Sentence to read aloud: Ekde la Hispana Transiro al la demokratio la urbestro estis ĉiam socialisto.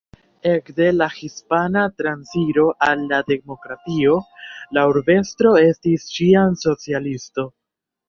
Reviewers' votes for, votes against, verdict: 0, 2, rejected